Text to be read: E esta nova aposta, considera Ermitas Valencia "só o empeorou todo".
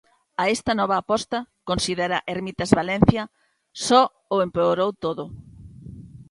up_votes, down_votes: 0, 2